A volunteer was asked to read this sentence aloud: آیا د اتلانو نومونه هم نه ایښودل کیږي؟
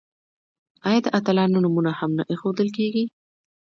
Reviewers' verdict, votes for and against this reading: rejected, 1, 2